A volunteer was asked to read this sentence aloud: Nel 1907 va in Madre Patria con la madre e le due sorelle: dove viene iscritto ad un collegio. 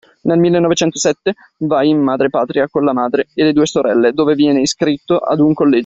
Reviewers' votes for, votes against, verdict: 0, 2, rejected